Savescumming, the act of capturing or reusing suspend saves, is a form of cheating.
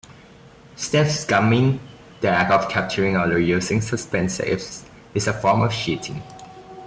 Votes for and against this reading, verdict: 0, 2, rejected